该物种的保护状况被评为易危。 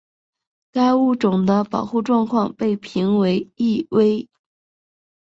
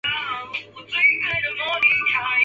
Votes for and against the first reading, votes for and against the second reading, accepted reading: 4, 0, 0, 2, first